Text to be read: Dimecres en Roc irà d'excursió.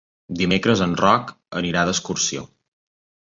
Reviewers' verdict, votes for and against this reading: accepted, 2, 1